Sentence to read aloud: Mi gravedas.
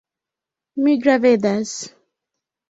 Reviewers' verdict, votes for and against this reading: accepted, 2, 1